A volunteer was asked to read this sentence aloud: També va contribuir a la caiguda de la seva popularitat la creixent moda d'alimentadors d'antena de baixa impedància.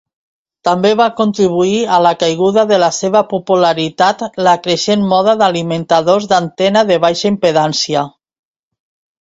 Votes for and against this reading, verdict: 2, 0, accepted